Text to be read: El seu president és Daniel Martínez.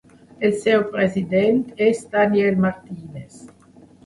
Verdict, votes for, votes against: rejected, 1, 2